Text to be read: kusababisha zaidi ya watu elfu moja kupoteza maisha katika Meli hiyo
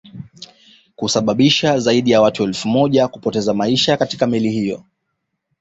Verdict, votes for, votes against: accepted, 2, 0